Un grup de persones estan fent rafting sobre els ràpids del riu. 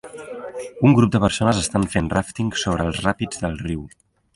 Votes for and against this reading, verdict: 2, 0, accepted